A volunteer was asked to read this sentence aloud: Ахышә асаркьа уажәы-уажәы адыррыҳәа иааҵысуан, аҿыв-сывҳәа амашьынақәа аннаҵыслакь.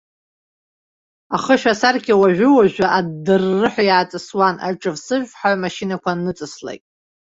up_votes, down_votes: 1, 2